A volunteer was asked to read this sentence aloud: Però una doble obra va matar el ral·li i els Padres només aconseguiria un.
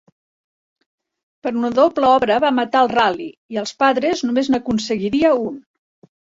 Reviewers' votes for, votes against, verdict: 0, 2, rejected